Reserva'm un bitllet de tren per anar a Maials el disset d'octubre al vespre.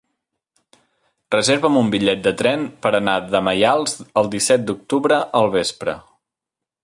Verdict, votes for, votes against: rejected, 1, 2